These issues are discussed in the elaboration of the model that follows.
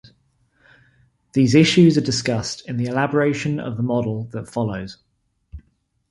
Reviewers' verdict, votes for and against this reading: accepted, 2, 0